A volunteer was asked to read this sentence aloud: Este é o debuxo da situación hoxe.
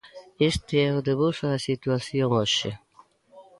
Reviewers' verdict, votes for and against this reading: accepted, 2, 0